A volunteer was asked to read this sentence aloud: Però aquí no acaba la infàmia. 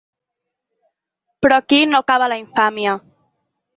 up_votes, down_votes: 12, 0